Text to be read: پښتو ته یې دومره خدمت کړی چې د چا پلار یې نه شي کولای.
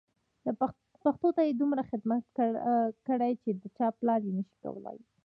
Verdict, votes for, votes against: accepted, 2, 0